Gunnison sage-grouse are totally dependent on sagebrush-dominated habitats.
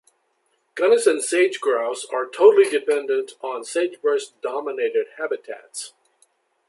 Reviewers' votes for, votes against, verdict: 3, 0, accepted